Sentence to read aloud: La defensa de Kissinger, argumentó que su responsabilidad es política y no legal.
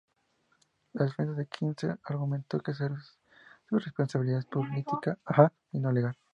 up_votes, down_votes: 2, 2